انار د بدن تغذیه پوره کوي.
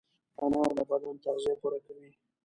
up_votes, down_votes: 2, 0